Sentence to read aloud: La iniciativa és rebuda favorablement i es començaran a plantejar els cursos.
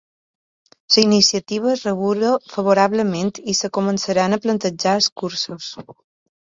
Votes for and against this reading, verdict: 1, 2, rejected